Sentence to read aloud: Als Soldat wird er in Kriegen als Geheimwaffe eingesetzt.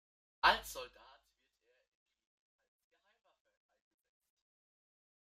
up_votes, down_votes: 0, 2